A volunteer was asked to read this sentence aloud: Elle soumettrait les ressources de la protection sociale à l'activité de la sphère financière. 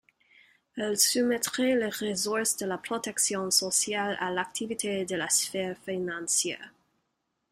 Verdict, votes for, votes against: accepted, 2, 0